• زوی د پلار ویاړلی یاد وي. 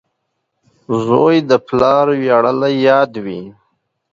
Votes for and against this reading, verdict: 2, 0, accepted